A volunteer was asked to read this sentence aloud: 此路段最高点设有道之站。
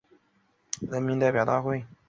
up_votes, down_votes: 1, 2